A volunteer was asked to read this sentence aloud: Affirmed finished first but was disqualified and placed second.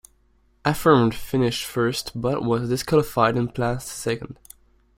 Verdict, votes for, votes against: accepted, 2, 0